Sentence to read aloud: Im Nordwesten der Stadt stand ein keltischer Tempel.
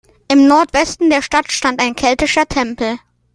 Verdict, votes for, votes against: accepted, 2, 0